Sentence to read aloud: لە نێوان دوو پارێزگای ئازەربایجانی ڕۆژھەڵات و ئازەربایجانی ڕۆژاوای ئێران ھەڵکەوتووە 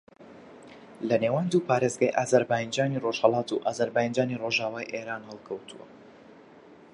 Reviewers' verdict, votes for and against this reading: rejected, 1, 2